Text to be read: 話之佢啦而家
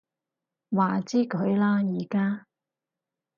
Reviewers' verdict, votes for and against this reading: accepted, 4, 0